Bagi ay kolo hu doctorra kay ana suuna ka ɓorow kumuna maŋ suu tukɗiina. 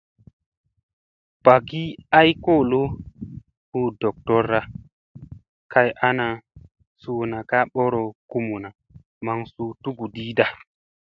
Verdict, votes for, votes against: accepted, 2, 1